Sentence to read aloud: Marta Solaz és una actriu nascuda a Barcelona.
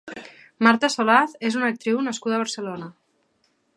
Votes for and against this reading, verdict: 2, 0, accepted